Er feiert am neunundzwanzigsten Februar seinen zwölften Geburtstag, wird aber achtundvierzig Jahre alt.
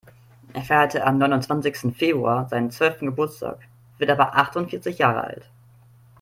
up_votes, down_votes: 0, 2